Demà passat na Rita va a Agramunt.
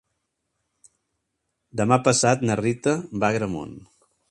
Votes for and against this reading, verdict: 3, 0, accepted